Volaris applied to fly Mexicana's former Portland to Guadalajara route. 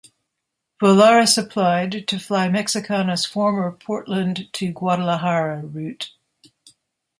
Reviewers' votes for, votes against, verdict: 2, 0, accepted